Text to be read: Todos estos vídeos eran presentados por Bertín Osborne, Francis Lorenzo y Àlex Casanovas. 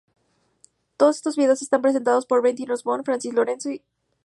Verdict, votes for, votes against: rejected, 0, 2